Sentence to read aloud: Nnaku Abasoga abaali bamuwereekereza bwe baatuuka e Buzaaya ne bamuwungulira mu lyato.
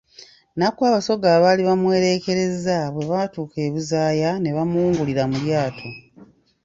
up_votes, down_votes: 2, 1